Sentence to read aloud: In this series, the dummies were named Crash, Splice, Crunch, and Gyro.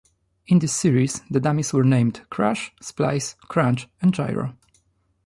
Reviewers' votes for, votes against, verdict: 2, 0, accepted